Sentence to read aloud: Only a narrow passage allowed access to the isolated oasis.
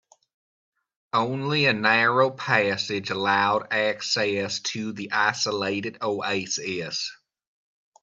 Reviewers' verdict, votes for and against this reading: accepted, 3, 0